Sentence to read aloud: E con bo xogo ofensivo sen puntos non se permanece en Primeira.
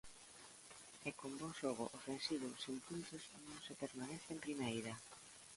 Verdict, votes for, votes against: rejected, 0, 2